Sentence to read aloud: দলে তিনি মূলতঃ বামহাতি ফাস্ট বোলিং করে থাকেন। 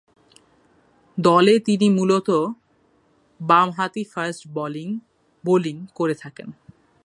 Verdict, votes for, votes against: rejected, 0, 2